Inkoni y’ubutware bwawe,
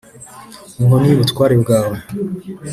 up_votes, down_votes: 3, 0